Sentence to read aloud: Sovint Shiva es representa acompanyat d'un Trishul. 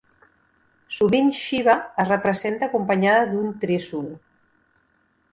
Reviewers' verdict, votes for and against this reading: accepted, 2, 0